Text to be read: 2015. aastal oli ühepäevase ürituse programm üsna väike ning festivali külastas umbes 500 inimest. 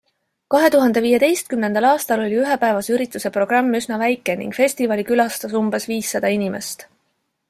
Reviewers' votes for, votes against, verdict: 0, 2, rejected